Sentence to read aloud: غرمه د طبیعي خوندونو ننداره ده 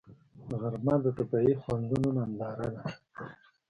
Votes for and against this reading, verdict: 2, 1, accepted